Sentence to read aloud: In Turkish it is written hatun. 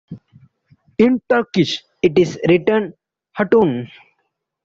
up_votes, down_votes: 2, 0